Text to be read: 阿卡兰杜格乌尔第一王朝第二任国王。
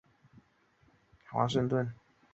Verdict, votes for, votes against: rejected, 0, 2